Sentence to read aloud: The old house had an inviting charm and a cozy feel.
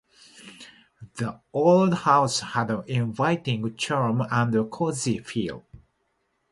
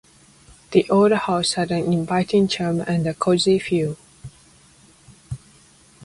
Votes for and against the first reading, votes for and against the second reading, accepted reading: 2, 0, 1, 2, first